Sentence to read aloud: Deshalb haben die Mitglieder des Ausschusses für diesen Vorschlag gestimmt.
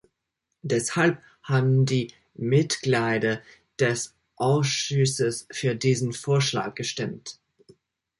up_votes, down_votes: 0, 2